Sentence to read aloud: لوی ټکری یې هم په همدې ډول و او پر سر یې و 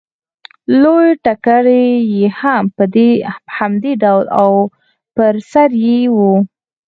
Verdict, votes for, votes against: accepted, 4, 2